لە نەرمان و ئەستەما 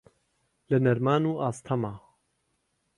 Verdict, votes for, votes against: rejected, 1, 2